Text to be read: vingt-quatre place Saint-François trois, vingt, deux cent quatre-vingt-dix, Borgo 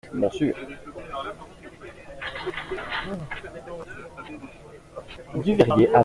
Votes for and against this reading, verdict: 0, 2, rejected